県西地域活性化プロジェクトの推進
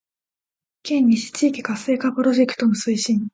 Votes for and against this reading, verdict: 1, 2, rejected